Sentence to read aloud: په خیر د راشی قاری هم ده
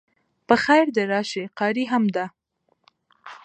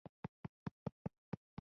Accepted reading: first